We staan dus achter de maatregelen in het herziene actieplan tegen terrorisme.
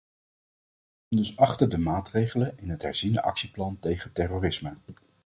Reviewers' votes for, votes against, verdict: 0, 2, rejected